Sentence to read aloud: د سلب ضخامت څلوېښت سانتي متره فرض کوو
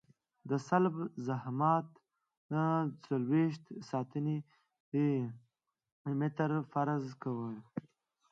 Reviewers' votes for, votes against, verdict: 1, 2, rejected